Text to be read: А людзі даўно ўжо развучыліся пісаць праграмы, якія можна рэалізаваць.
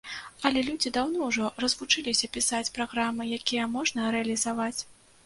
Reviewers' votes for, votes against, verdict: 0, 2, rejected